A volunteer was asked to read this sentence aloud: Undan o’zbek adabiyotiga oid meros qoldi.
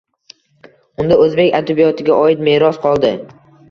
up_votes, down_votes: 2, 0